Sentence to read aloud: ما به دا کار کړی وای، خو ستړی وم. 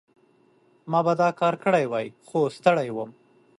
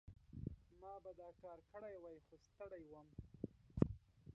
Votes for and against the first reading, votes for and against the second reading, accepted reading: 2, 0, 1, 2, first